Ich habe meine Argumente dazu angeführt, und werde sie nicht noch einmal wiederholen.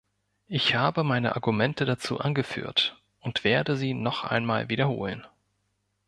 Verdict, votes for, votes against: rejected, 0, 2